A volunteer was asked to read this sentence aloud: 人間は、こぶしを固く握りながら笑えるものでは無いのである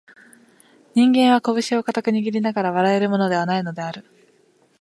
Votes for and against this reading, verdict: 4, 1, accepted